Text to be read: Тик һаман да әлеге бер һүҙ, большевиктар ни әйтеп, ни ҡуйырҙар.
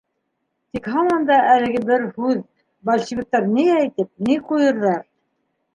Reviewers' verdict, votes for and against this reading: rejected, 0, 2